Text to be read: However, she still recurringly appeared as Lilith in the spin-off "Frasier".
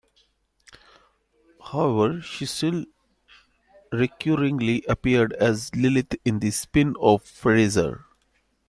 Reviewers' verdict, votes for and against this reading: accepted, 2, 1